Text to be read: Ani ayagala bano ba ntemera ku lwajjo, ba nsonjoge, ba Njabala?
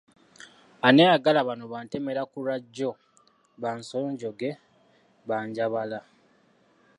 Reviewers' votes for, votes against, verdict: 3, 1, accepted